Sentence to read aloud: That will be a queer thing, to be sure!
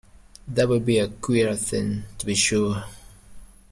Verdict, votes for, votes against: rejected, 0, 2